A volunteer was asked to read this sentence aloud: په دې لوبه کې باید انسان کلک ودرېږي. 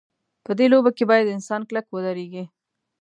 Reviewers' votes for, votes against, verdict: 1, 2, rejected